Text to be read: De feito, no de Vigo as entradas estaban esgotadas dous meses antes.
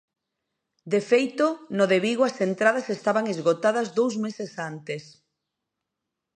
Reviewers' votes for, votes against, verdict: 2, 0, accepted